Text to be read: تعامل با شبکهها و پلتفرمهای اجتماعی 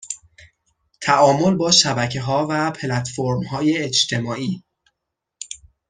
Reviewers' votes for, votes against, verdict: 2, 0, accepted